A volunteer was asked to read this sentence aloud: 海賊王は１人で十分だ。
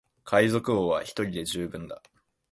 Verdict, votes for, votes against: rejected, 0, 2